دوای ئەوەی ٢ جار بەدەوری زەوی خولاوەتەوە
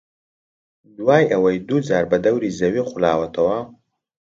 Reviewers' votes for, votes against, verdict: 0, 2, rejected